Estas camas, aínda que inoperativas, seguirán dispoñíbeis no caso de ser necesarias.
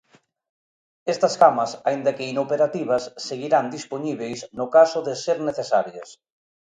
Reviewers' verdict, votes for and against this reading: accepted, 2, 0